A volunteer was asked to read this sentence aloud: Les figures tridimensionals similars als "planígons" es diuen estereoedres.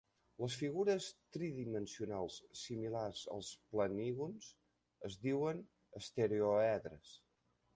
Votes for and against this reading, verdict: 0, 2, rejected